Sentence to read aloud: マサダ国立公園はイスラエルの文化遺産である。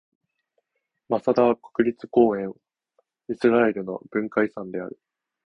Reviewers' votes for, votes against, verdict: 0, 2, rejected